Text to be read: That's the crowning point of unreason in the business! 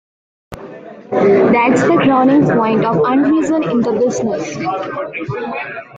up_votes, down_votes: 0, 3